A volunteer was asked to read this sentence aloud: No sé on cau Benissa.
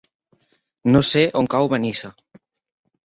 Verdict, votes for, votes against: accepted, 3, 0